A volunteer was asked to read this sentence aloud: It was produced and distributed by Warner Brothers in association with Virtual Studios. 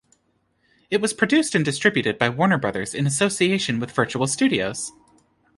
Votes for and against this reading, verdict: 2, 0, accepted